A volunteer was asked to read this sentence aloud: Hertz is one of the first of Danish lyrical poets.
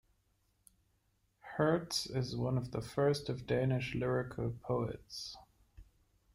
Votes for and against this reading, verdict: 2, 0, accepted